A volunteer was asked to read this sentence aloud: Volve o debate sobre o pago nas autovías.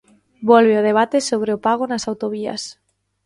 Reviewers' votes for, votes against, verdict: 2, 0, accepted